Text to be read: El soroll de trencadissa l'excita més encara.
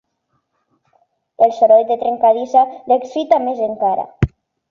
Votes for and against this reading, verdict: 4, 0, accepted